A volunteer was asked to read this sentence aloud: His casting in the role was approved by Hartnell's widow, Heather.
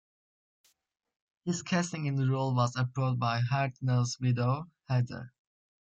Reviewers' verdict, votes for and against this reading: accepted, 2, 0